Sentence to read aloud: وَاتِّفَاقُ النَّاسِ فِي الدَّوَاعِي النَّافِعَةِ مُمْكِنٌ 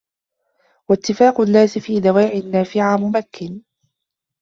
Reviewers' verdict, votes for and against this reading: rejected, 0, 2